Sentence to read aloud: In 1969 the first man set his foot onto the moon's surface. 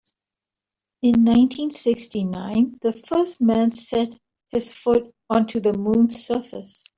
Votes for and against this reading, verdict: 0, 2, rejected